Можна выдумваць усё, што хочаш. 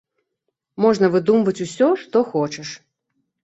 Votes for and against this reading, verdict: 2, 0, accepted